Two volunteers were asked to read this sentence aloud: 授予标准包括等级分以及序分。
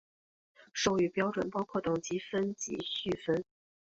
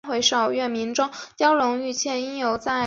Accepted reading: first